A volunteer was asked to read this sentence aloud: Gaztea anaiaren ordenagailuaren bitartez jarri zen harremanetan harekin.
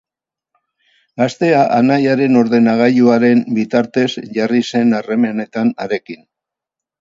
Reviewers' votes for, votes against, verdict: 0, 2, rejected